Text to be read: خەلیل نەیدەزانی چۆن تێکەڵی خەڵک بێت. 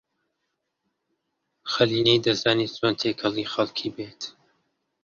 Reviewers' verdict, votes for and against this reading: rejected, 0, 2